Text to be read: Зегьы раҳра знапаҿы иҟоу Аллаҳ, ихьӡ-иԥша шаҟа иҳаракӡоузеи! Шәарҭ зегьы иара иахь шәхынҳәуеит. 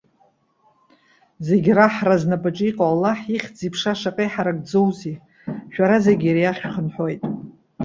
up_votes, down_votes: 2, 0